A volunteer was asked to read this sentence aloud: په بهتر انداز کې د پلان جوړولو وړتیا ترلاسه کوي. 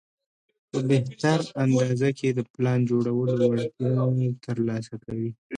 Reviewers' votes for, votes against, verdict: 0, 2, rejected